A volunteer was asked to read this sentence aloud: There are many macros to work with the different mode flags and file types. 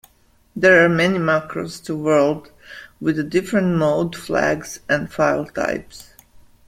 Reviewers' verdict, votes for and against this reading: rejected, 1, 2